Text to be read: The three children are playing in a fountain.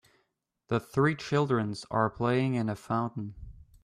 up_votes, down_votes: 0, 2